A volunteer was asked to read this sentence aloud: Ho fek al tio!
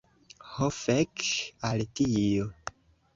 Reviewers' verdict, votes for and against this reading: accepted, 2, 0